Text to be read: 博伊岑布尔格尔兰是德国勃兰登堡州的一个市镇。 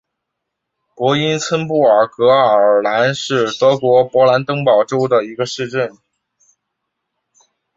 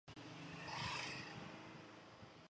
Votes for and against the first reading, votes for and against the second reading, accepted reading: 6, 1, 0, 2, first